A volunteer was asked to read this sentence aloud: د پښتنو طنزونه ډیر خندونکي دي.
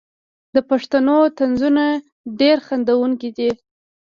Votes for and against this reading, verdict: 1, 2, rejected